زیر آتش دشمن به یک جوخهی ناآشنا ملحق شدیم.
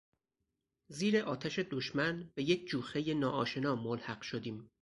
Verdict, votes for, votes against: accepted, 4, 0